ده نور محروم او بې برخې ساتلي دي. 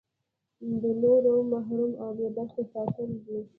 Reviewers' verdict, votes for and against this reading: accepted, 2, 1